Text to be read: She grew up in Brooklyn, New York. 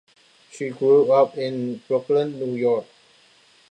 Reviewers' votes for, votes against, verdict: 2, 0, accepted